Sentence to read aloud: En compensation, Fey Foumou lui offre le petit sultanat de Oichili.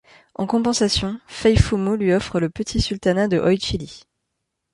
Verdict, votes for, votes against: accepted, 2, 0